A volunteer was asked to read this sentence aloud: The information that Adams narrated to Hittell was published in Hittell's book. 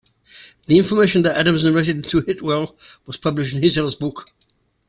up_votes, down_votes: 2, 0